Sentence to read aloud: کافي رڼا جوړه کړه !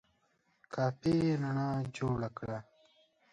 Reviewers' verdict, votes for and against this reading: accepted, 2, 0